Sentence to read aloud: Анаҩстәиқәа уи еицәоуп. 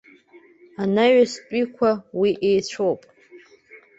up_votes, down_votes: 2, 0